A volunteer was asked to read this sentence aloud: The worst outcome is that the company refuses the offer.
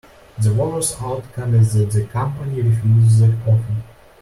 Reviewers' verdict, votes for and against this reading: rejected, 1, 2